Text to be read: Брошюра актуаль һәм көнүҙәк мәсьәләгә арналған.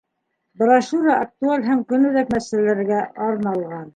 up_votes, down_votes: 1, 2